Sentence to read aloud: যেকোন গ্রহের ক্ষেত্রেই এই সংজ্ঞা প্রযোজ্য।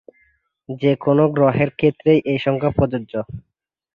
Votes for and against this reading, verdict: 2, 1, accepted